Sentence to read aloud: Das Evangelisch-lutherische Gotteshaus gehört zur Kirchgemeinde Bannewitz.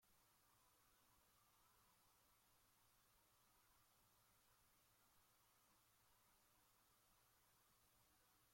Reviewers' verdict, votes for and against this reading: rejected, 0, 2